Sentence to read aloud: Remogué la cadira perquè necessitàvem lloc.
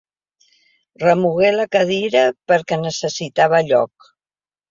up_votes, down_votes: 0, 2